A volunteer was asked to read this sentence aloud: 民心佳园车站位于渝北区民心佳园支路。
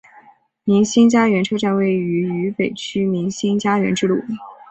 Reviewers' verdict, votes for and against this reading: accepted, 5, 1